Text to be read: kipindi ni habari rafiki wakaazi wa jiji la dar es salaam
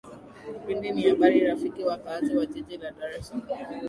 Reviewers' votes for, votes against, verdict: 2, 1, accepted